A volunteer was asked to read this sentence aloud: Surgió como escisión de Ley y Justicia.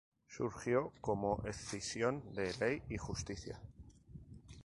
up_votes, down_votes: 0, 2